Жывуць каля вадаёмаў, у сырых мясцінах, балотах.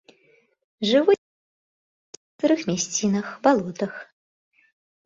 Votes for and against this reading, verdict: 0, 2, rejected